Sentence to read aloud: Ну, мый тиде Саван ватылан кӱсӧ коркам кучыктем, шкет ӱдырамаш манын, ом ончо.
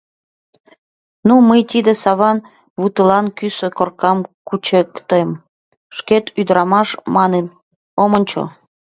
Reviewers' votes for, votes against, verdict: 2, 1, accepted